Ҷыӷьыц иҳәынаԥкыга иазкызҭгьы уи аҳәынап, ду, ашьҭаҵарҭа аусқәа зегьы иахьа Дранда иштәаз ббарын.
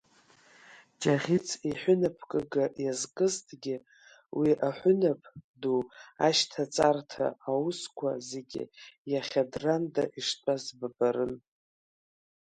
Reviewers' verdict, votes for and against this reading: accepted, 2, 1